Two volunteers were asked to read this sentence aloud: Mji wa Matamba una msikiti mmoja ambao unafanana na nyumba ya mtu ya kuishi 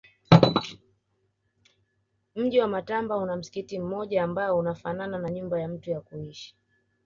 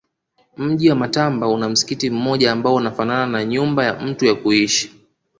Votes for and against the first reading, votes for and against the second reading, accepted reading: 1, 2, 2, 1, second